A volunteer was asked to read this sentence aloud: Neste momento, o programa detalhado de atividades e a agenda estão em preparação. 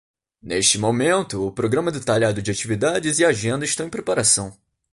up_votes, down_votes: 2, 0